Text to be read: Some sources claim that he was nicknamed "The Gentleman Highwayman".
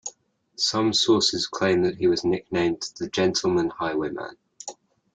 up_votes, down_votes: 2, 0